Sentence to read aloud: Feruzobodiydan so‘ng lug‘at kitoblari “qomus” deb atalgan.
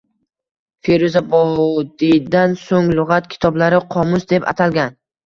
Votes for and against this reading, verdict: 1, 2, rejected